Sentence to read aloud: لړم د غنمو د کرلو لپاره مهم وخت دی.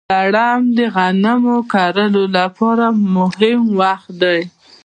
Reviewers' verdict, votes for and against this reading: accepted, 2, 0